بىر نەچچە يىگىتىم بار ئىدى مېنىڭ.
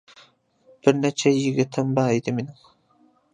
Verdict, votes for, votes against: accepted, 2, 0